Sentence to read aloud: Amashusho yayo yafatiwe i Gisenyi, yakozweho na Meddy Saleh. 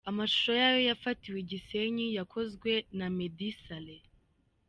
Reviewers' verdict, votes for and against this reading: rejected, 0, 2